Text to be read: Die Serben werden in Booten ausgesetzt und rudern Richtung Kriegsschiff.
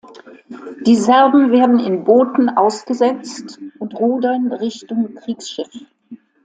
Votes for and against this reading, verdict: 2, 0, accepted